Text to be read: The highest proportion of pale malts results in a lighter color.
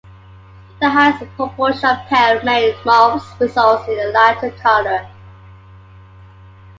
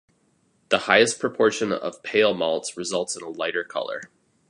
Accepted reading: second